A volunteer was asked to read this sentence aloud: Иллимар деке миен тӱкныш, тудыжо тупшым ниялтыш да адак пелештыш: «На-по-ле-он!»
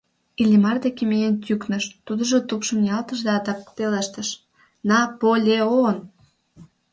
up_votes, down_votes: 2, 0